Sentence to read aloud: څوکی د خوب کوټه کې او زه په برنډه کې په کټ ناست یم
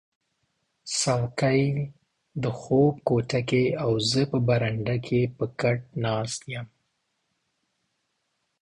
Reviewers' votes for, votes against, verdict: 2, 0, accepted